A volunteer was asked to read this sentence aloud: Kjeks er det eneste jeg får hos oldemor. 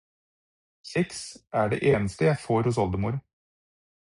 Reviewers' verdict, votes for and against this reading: accepted, 4, 0